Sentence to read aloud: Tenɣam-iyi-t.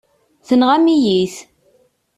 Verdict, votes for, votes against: accepted, 2, 0